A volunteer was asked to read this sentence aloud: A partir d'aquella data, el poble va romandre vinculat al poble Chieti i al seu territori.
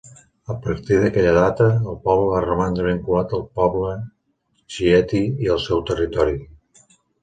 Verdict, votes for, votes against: accepted, 4, 0